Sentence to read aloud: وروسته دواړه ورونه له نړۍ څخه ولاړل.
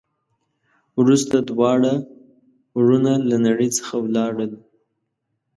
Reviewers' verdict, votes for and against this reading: accepted, 2, 0